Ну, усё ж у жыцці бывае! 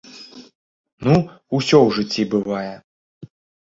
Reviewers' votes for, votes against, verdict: 0, 2, rejected